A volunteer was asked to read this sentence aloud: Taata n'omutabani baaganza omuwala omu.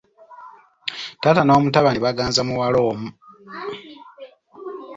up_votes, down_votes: 1, 2